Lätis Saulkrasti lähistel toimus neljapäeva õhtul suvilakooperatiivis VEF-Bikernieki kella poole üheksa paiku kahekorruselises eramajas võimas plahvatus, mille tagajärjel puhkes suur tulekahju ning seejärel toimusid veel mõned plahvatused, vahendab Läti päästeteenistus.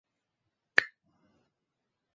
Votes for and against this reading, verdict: 0, 2, rejected